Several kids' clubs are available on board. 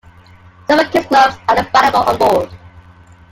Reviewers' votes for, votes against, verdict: 1, 2, rejected